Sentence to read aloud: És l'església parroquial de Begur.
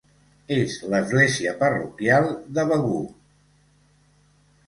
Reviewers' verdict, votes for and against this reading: accepted, 2, 0